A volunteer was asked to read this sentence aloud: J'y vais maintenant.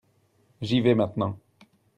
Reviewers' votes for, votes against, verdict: 2, 0, accepted